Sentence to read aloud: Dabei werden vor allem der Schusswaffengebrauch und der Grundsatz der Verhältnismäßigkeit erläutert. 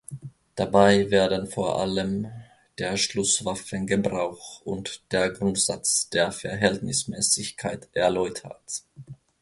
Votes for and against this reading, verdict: 0, 2, rejected